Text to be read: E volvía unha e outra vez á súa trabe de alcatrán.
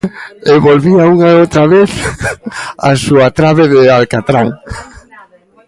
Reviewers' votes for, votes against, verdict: 1, 2, rejected